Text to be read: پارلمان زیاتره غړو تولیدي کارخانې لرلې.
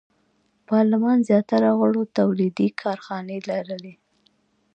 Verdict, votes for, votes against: accepted, 2, 1